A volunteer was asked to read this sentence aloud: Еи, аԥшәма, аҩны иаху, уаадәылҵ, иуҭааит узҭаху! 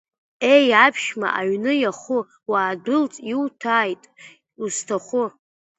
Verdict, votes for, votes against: rejected, 0, 2